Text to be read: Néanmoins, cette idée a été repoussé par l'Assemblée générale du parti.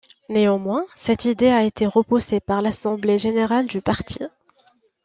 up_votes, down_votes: 2, 0